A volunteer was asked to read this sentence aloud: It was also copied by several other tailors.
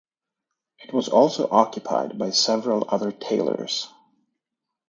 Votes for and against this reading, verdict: 0, 2, rejected